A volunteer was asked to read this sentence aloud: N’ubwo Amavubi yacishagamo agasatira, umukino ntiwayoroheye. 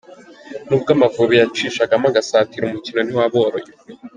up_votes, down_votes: 1, 2